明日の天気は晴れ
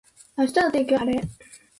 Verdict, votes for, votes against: accepted, 3, 0